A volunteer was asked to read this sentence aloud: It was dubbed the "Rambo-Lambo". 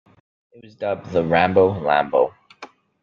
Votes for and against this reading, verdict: 0, 2, rejected